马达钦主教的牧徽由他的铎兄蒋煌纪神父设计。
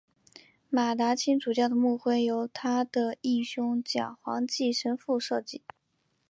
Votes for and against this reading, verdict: 4, 1, accepted